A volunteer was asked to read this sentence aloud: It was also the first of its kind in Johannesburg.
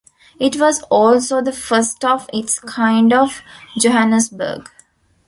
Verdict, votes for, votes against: rejected, 1, 2